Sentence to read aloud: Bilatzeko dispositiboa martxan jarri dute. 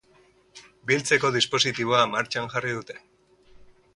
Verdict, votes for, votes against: rejected, 0, 2